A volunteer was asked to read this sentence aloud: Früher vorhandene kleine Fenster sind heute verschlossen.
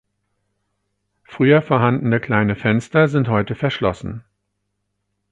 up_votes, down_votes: 4, 0